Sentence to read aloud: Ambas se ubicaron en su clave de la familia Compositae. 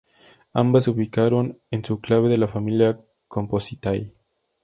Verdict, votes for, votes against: accepted, 2, 0